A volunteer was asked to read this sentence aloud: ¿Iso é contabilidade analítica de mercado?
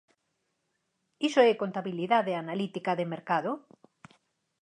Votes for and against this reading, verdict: 4, 2, accepted